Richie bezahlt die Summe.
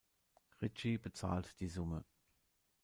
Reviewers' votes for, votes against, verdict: 2, 0, accepted